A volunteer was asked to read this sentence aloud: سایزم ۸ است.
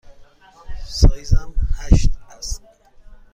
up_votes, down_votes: 0, 2